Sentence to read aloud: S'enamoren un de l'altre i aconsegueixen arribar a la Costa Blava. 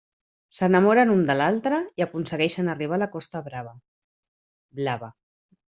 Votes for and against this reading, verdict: 0, 2, rejected